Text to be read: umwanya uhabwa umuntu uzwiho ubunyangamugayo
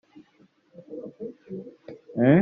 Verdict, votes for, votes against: rejected, 0, 2